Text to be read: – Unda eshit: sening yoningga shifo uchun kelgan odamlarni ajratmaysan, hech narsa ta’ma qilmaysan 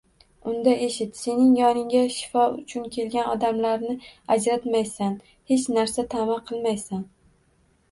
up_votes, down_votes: 2, 0